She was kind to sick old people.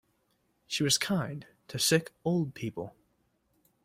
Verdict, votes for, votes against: accepted, 2, 0